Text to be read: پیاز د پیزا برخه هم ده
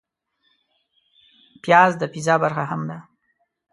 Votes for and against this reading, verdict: 2, 0, accepted